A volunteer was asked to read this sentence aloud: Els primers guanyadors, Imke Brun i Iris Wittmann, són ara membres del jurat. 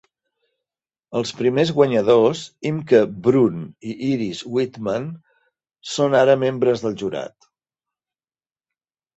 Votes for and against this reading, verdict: 2, 0, accepted